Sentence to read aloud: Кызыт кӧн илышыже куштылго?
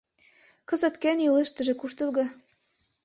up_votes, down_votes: 1, 2